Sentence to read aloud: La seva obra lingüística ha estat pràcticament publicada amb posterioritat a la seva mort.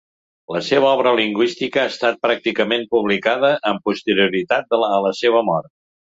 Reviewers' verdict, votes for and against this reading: rejected, 0, 2